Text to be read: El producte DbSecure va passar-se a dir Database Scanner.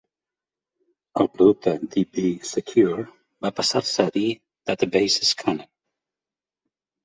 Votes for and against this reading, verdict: 3, 0, accepted